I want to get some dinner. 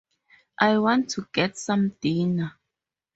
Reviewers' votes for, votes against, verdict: 4, 0, accepted